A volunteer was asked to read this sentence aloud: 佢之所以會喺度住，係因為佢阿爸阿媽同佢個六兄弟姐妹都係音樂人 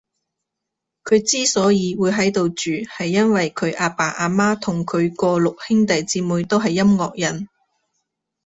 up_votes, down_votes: 2, 0